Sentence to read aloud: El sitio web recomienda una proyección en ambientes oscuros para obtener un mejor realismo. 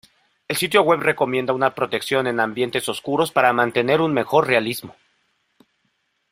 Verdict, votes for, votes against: rejected, 0, 2